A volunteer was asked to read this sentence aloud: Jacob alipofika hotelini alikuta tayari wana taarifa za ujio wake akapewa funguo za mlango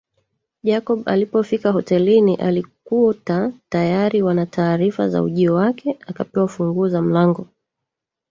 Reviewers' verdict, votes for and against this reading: rejected, 0, 2